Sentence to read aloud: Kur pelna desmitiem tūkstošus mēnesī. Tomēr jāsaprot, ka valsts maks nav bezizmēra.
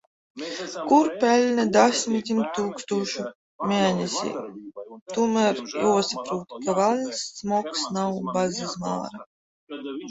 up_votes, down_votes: 0, 2